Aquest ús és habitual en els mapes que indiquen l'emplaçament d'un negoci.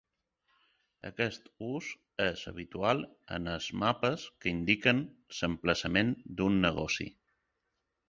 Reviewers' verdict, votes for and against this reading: rejected, 1, 2